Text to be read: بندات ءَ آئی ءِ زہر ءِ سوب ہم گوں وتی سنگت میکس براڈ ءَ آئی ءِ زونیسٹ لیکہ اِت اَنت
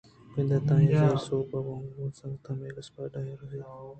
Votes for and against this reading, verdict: 2, 0, accepted